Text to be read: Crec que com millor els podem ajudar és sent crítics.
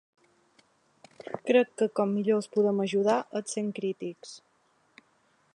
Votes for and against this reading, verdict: 2, 0, accepted